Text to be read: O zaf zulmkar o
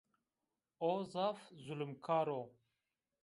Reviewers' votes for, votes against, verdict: 2, 0, accepted